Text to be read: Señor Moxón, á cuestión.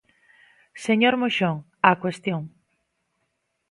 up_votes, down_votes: 2, 0